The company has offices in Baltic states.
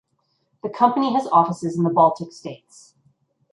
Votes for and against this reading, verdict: 0, 2, rejected